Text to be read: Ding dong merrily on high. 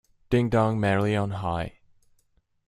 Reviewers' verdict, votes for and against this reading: accepted, 2, 0